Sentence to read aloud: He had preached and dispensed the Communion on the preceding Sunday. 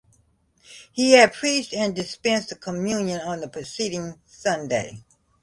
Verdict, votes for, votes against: accepted, 2, 1